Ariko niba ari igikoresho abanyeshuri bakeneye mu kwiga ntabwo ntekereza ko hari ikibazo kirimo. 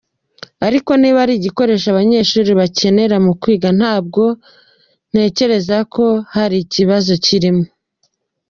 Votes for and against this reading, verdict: 2, 0, accepted